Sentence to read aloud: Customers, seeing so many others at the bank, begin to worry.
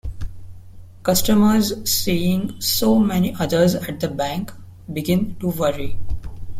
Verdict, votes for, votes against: accepted, 2, 0